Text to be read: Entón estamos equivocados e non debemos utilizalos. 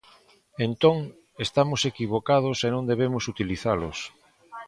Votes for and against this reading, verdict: 2, 0, accepted